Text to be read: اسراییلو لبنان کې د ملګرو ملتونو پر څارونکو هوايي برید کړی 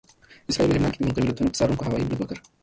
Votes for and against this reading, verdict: 1, 2, rejected